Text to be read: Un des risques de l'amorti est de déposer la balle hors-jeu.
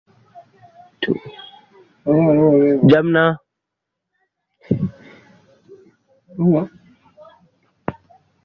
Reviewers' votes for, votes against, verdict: 0, 2, rejected